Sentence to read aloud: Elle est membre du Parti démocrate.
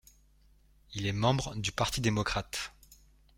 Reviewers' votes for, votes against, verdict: 1, 2, rejected